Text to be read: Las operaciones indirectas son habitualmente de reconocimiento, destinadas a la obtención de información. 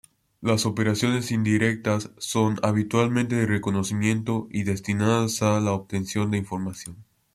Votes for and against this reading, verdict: 0, 2, rejected